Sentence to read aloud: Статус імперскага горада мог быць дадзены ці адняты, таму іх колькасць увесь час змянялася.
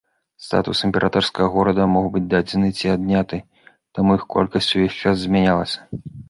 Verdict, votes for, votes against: accepted, 3, 0